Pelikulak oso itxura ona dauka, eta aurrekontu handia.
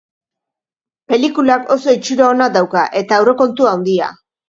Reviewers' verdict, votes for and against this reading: rejected, 1, 2